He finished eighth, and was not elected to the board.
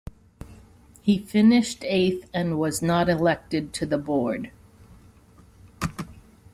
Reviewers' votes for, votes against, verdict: 2, 0, accepted